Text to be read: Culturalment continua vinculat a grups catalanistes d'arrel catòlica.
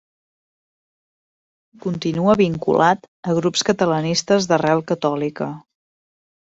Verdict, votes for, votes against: rejected, 0, 2